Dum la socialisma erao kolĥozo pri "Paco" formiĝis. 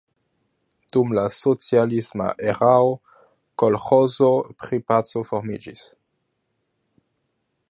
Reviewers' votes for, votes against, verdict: 2, 1, accepted